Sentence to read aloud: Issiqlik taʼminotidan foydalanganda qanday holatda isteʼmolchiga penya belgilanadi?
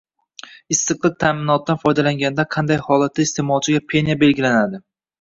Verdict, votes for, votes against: rejected, 1, 2